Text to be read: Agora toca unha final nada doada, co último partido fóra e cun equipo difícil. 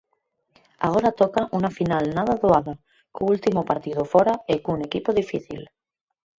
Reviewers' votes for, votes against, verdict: 0, 4, rejected